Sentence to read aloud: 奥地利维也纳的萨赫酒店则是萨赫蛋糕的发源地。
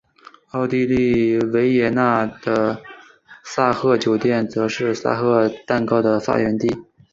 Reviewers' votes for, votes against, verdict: 3, 0, accepted